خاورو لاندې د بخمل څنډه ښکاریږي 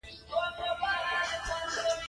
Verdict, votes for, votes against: rejected, 1, 2